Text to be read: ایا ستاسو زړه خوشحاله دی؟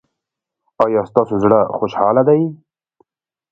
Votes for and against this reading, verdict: 0, 2, rejected